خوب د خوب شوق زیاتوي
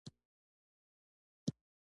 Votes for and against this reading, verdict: 1, 2, rejected